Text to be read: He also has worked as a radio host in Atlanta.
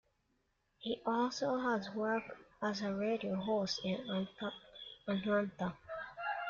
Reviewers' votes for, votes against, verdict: 1, 2, rejected